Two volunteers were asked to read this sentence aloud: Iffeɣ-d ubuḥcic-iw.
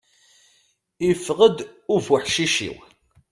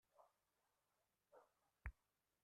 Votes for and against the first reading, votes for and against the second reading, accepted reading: 2, 0, 0, 2, first